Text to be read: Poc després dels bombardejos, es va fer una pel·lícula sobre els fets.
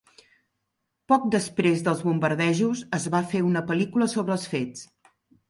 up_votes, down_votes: 3, 0